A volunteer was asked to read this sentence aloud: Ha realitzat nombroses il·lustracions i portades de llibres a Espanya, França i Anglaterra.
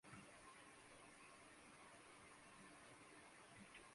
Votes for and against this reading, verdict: 0, 2, rejected